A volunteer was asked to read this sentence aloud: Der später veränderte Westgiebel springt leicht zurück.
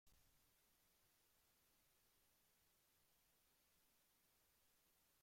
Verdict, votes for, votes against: rejected, 0, 2